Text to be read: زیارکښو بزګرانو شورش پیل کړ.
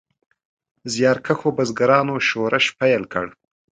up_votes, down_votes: 2, 0